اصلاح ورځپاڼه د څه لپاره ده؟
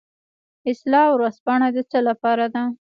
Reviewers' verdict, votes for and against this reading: accepted, 2, 1